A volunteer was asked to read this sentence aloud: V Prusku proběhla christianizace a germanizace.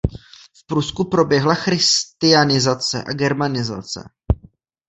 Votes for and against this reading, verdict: 1, 2, rejected